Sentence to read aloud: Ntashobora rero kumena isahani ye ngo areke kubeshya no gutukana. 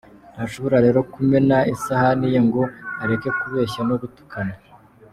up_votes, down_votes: 2, 0